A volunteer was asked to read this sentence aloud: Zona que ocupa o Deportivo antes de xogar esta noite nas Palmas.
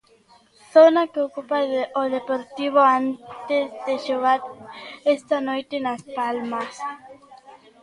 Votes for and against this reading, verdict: 0, 3, rejected